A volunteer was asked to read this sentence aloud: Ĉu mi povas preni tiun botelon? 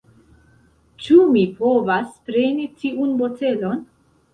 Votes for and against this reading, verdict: 0, 2, rejected